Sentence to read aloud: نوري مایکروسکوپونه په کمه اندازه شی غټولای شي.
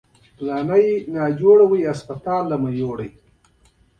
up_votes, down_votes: 2, 1